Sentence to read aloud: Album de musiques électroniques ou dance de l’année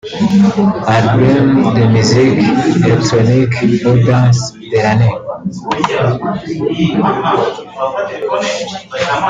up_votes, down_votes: 1, 2